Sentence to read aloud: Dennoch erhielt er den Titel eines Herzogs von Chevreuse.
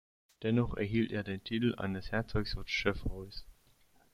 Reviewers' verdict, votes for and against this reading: rejected, 0, 2